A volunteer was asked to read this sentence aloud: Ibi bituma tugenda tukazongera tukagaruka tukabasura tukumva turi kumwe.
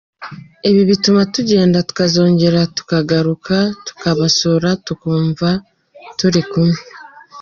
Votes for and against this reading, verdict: 2, 1, accepted